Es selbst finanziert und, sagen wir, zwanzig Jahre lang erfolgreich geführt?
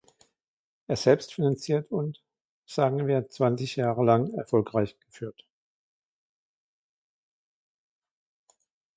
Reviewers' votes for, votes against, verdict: 2, 1, accepted